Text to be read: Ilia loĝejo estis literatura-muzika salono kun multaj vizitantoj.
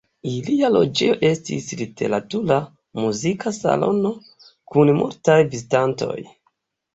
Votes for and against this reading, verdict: 2, 3, rejected